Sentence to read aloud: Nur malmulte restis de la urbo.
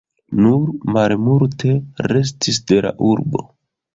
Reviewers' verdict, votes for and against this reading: rejected, 0, 2